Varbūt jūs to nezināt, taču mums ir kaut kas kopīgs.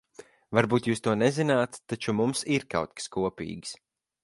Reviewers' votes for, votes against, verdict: 4, 0, accepted